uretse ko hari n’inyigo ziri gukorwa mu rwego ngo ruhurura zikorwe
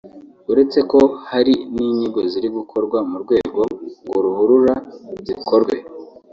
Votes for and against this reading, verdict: 2, 0, accepted